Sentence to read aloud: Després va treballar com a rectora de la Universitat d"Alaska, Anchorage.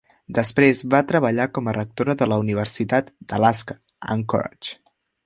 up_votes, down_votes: 0, 2